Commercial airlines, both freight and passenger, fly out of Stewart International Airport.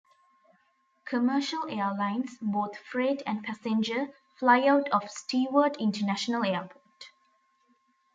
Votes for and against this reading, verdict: 2, 0, accepted